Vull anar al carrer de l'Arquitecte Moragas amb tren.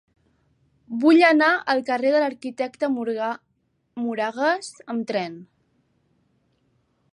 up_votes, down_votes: 0, 2